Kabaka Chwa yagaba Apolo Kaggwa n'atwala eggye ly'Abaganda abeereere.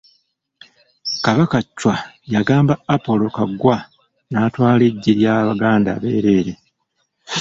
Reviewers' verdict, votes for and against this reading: rejected, 1, 2